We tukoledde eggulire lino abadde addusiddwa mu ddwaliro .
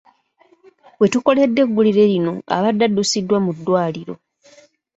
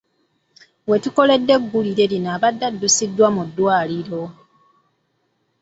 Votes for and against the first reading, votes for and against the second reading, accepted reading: 3, 0, 0, 2, first